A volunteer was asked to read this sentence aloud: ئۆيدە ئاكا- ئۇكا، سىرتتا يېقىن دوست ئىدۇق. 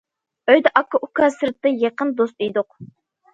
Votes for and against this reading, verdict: 2, 0, accepted